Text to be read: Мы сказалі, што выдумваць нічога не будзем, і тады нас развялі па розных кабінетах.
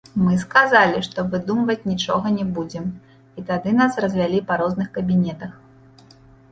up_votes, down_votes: 2, 0